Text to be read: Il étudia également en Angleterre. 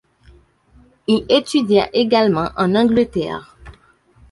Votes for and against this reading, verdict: 2, 1, accepted